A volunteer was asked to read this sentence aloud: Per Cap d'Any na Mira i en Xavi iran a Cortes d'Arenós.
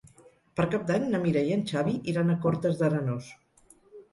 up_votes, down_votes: 6, 0